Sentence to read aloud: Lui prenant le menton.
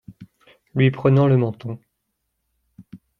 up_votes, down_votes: 2, 0